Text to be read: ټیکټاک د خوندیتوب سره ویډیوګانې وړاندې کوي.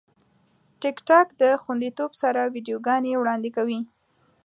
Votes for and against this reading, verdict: 2, 0, accepted